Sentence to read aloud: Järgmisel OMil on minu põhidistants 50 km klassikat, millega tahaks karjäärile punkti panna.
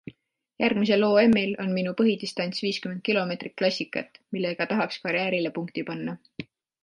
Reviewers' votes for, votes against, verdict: 0, 2, rejected